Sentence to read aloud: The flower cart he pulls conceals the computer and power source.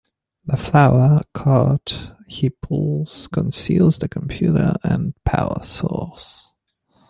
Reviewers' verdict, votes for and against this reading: accepted, 3, 0